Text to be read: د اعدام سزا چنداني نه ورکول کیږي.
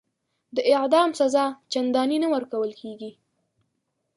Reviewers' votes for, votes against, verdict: 6, 0, accepted